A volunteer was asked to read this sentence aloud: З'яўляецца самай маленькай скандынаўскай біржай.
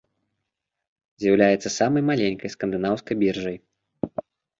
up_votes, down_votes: 2, 0